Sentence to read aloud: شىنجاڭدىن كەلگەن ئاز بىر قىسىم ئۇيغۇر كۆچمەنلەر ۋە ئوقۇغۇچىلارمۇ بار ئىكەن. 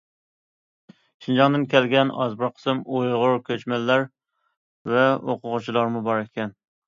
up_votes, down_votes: 2, 0